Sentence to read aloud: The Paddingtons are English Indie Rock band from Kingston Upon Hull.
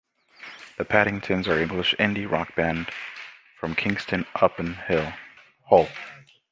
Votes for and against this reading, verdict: 0, 2, rejected